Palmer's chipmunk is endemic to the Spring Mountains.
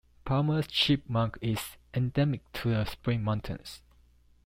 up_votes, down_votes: 2, 0